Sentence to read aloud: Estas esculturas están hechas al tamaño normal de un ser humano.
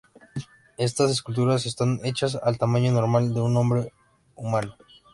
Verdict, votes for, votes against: rejected, 0, 2